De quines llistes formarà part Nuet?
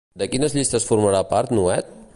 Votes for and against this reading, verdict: 2, 0, accepted